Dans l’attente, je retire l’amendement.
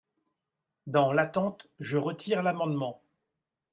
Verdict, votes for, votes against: accepted, 2, 0